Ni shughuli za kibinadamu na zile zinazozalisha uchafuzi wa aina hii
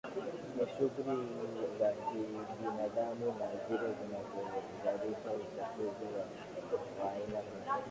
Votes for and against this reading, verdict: 2, 8, rejected